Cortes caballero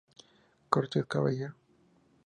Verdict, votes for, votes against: rejected, 0, 2